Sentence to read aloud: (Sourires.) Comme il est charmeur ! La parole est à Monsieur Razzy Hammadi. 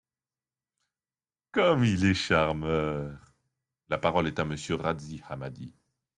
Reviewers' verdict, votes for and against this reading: accepted, 2, 1